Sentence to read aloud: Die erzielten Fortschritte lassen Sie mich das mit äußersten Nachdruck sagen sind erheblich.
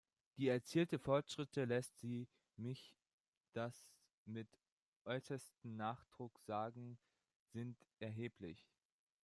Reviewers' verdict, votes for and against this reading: rejected, 0, 2